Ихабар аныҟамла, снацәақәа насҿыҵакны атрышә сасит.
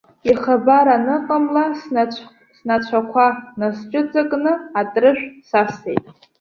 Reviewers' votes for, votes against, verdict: 1, 2, rejected